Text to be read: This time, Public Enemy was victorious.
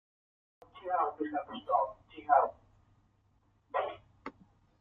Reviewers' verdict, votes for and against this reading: rejected, 0, 3